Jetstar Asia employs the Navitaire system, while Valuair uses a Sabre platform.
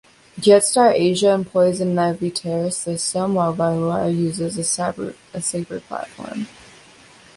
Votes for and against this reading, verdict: 1, 2, rejected